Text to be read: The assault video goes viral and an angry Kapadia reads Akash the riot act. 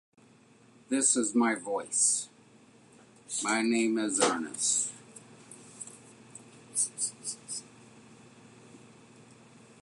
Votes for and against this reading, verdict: 0, 2, rejected